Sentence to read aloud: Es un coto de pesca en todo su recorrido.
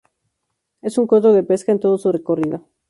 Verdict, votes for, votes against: rejected, 2, 4